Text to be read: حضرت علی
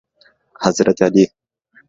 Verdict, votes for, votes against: accepted, 2, 0